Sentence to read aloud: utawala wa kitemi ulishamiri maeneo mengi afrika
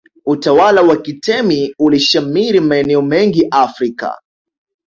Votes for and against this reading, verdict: 2, 0, accepted